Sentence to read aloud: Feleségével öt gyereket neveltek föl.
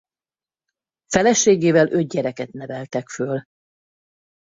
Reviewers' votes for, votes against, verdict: 4, 0, accepted